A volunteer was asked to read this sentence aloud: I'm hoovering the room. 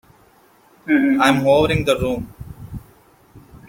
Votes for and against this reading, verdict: 0, 2, rejected